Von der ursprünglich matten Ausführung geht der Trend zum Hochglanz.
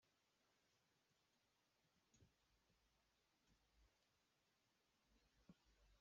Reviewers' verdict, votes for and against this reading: rejected, 0, 2